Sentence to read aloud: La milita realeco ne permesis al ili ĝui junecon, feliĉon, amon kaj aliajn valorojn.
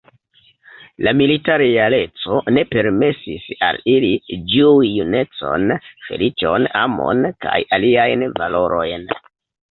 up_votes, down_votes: 1, 2